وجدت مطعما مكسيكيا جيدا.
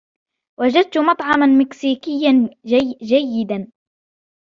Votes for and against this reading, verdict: 2, 0, accepted